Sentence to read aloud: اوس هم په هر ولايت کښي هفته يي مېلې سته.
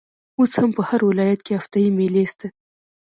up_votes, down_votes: 1, 2